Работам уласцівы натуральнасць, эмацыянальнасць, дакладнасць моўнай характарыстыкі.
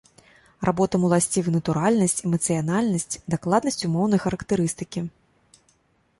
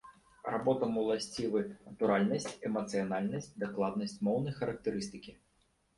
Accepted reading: second